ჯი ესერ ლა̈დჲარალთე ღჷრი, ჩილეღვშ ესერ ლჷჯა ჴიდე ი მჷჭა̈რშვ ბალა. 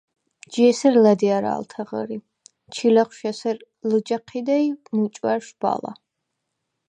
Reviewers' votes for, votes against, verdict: 0, 4, rejected